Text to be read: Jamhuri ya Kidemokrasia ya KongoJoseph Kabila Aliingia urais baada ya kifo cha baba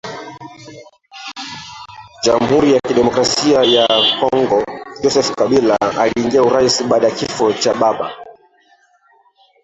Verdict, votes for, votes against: rejected, 1, 2